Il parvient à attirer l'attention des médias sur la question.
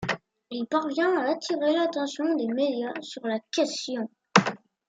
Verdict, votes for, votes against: accepted, 2, 0